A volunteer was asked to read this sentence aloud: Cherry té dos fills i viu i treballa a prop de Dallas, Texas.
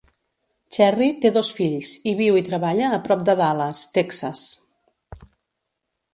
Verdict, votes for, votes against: accepted, 2, 0